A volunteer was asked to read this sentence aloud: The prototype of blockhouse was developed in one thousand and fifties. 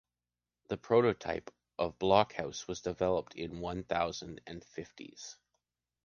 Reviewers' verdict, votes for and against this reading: accepted, 2, 1